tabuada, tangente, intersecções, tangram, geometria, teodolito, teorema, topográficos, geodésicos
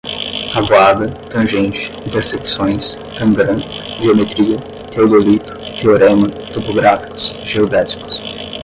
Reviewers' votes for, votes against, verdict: 5, 10, rejected